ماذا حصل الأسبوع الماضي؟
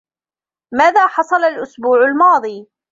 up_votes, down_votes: 1, 2